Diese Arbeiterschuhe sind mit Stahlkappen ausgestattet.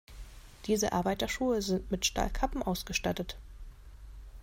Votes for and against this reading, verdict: 2, 0, accepted